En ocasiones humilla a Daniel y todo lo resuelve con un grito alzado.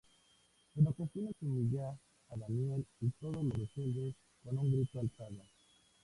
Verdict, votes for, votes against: rejected, 0, 2